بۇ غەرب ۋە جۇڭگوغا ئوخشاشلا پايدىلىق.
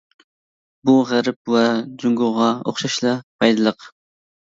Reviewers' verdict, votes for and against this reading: accepted, 2, 0